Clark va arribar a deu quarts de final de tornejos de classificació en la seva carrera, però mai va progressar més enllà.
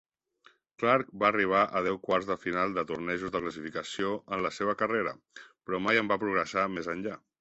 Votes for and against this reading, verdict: 0, 2, rejected